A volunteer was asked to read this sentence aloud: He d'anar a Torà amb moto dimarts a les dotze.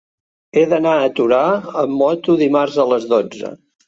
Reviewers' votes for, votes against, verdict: 3, 0, accepted